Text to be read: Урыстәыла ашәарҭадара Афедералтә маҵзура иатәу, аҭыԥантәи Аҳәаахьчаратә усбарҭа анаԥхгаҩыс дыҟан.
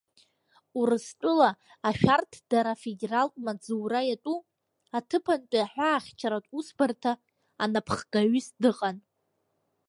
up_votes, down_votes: 2, 0